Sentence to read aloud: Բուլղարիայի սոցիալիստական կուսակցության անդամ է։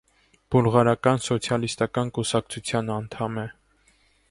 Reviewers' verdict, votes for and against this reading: rejected, 0, 2